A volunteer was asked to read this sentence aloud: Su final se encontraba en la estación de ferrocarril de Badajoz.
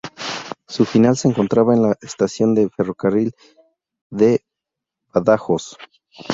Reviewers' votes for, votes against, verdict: 2, 0, accepted